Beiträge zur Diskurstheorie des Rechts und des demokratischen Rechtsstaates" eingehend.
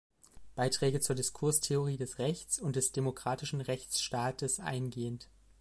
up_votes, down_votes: 2, 0